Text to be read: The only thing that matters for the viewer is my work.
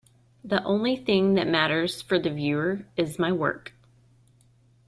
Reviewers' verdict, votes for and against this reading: accepted, 2, 0